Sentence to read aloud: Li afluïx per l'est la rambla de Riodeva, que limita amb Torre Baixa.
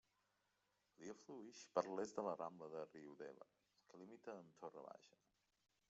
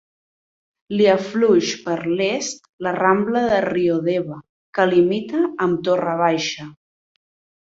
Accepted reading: second